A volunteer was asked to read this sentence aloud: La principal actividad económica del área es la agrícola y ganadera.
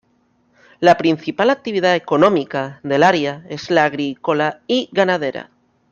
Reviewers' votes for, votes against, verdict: 2, 1, accepted